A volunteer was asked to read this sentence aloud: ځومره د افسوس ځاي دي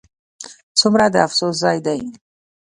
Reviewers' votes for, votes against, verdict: 2, 0, accepted